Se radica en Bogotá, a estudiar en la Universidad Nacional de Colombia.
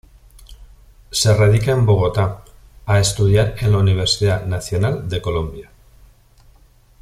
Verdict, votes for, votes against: accepted, 2, 0